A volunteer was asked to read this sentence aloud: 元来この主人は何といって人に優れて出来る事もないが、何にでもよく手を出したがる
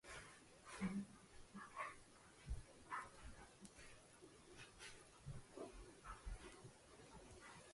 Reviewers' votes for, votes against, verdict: 0, 2, rejected